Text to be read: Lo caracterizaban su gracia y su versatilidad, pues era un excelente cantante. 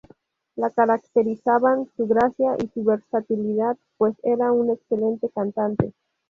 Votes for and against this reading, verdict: 2, 0, accepted